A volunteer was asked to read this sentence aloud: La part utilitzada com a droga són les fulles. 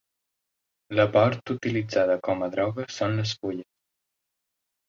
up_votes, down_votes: 2, 0